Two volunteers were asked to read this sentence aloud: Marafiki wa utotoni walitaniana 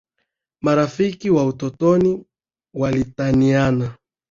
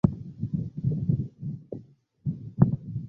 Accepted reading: first